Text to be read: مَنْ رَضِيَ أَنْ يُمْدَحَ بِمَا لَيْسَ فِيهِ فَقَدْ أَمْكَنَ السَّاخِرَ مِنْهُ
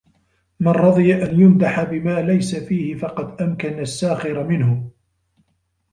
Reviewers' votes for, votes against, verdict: 1, 2, rejected